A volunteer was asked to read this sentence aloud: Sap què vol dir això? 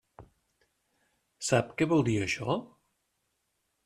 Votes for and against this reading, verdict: 3, 0, accepted